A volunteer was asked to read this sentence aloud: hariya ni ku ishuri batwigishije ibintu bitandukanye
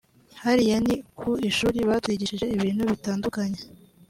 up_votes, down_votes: 2, 0